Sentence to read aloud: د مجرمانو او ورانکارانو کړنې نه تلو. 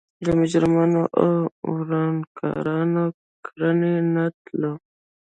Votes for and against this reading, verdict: 1, 2, rejected